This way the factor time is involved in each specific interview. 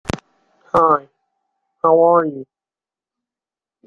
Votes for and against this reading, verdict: 1, 2, rejected